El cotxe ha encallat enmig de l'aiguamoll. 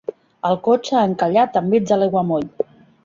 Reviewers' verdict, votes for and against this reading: accepted, 2, 0